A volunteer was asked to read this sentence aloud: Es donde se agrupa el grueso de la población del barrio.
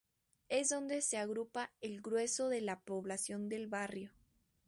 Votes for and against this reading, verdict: 2, 0, accepted